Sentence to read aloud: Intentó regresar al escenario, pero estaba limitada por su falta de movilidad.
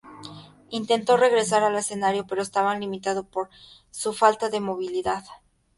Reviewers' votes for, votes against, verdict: 2, 0, accepted